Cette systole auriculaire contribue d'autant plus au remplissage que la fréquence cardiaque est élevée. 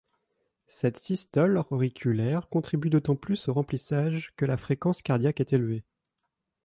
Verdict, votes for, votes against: accepted, 3, 1